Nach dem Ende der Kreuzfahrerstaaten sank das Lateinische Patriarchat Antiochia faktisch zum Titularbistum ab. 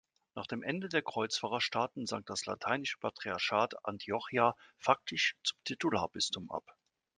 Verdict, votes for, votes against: accepted, 2, 0